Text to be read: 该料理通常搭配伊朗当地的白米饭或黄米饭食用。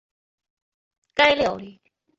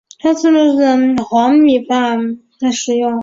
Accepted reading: second